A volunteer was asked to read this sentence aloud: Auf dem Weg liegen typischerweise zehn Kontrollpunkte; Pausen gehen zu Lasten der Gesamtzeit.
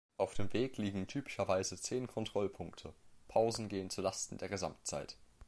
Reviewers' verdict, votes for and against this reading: accepted, 2, 0